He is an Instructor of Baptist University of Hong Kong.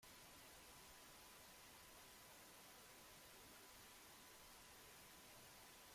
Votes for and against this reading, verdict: 0, 2, rejected